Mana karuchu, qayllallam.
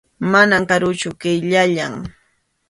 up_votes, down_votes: 2, 0